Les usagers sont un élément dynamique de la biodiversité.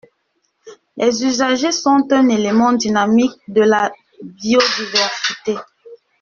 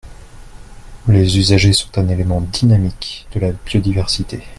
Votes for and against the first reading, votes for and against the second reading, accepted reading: 1, 2, 2, 0, second